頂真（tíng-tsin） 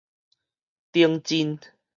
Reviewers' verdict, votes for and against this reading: accepted, 4, 0